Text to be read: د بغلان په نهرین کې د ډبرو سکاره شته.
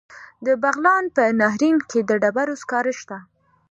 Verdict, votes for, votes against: accepted, 2, 0